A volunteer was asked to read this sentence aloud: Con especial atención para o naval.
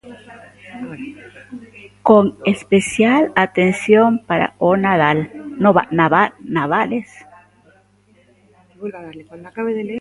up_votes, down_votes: 0, 2